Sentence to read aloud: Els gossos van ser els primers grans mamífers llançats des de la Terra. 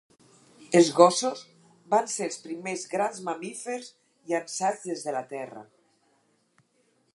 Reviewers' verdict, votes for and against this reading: accepted, 4, 0